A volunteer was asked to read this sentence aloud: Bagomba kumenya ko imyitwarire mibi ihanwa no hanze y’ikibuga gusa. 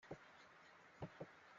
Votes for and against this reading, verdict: 0, 3, rejected